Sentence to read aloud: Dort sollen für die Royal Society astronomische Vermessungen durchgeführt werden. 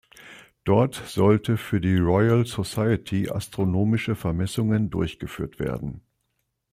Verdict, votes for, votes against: rejected, 0, 2